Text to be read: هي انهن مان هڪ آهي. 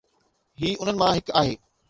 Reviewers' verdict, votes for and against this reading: accepted, 2, 0